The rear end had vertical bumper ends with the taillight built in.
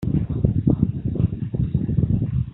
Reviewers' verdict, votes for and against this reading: rejected, 0, 2